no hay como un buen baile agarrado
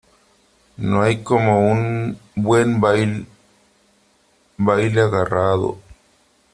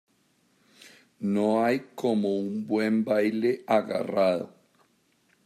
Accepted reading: second